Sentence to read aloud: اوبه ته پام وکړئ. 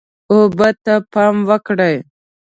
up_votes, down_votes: 2, 0